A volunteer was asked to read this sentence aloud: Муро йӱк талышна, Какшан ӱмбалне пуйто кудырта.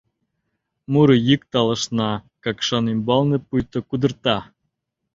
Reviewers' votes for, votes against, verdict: 2, 0, accepted